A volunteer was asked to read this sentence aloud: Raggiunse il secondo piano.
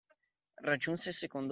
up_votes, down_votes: 0, 2